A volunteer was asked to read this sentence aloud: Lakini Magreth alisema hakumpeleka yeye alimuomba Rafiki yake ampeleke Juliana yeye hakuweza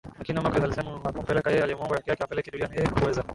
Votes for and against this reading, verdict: 1, 2, rejected